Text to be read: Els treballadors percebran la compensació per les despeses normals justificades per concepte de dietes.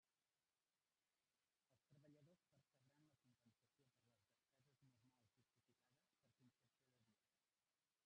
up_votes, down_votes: 0, 2